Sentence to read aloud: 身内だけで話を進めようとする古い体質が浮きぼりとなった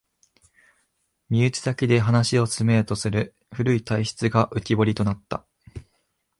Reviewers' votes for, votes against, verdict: 2, 0, accepted